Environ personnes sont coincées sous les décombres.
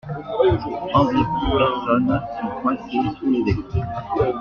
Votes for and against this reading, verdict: 0, 2, rejected